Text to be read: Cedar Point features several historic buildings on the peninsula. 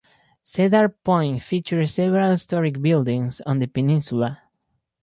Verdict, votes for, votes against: rejected, 2, 2